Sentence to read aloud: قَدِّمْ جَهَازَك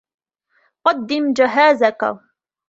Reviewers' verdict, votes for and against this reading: accepted, 2, 1